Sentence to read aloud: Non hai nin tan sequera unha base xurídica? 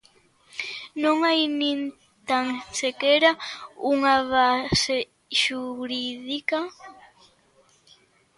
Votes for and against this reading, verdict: 1, 2, rejected